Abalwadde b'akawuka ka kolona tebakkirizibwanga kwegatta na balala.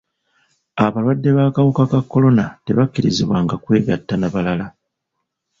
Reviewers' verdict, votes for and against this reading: accepted, 2, 0